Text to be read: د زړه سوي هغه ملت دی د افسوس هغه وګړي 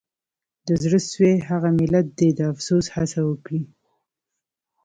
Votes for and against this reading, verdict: 1, 2, rejected